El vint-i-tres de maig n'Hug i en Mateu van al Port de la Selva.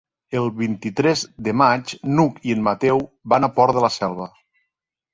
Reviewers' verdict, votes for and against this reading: rejected, 1, 2